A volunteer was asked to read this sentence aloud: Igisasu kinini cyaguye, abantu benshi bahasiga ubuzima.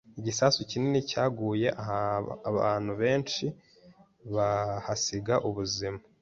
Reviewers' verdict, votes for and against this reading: rejected, 0, 2